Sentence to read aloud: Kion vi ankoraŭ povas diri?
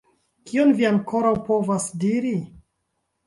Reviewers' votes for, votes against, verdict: 0, 2, rejected